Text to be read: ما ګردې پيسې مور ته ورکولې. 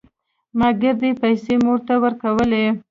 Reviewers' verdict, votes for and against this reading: rejected, 1, 2